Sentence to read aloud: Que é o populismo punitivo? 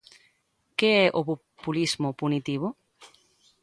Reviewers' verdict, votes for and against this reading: rejected, 1, 2